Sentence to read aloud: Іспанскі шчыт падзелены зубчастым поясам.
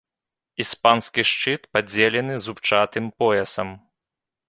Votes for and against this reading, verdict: 1, 3, rejected